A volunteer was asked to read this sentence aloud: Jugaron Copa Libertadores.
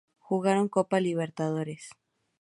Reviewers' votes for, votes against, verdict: 2, 2, rejected